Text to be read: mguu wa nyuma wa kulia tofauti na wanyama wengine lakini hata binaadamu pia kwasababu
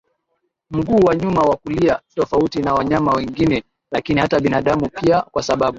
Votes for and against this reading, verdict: 2, 1, accepted